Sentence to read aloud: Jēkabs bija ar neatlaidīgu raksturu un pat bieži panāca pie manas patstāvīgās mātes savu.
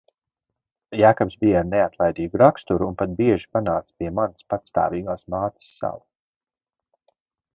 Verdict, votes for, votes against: accepted, 2, 0